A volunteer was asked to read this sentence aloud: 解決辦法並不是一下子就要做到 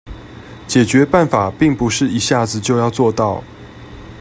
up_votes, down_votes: 2, 0